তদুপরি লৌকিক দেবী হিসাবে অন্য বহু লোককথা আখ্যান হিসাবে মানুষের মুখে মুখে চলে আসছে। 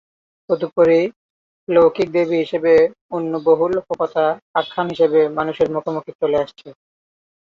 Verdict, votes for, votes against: rejected, 1, 2